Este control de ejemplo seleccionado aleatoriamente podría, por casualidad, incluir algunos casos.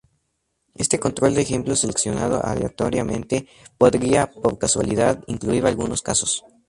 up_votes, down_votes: 2, 0